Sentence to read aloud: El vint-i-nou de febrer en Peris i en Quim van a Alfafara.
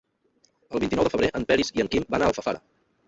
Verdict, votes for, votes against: accepted, 3, 0